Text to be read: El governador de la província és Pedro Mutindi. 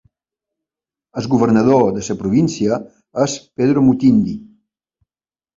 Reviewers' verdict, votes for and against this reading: accepted, 3, 1